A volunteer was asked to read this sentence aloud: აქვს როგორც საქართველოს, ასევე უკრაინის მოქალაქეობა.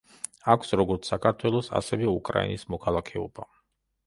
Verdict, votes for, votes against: accepted, 2, 0